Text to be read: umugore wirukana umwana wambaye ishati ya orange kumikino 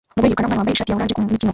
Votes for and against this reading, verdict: 0, 2, rejected